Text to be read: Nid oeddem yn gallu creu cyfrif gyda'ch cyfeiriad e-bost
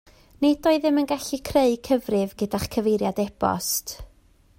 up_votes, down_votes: 2, 0